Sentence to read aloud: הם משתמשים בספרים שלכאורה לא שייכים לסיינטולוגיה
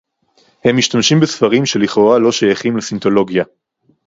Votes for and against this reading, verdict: 0, 2, rejected